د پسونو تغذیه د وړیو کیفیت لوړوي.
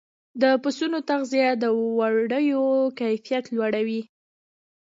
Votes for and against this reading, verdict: 0, 2, rejected